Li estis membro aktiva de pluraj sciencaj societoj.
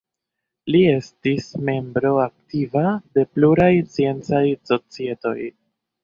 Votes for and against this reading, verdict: 2, 1, accepted